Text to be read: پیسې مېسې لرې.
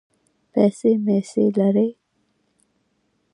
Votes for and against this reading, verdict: 2, 1, accepted